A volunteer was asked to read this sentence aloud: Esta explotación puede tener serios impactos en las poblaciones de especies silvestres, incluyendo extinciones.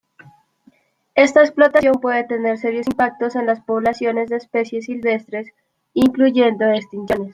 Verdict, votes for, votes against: rejected, 0, 2